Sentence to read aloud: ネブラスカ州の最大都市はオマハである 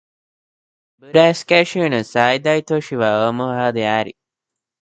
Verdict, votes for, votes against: rejected, 0, 2